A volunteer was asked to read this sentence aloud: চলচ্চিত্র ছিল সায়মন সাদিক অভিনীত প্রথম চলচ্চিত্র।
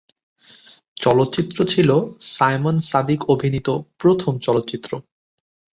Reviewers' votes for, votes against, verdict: 2, 0, accepted